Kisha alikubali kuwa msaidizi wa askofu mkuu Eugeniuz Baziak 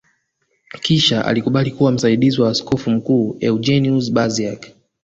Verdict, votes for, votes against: accepted, 2, 1